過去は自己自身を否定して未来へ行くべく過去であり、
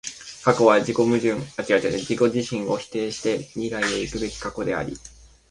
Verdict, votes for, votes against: rejected, 0, 2